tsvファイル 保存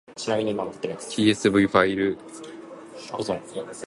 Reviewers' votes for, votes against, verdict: 1, 2, rejected